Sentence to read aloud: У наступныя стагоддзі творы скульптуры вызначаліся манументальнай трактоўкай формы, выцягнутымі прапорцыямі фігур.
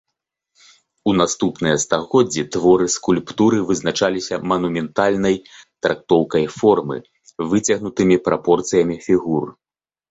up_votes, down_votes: 2, 0